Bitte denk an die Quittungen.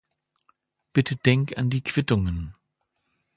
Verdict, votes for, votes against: accepted, 2, 0